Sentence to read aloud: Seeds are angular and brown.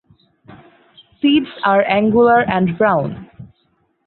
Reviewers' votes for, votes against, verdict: 4, 0, accepted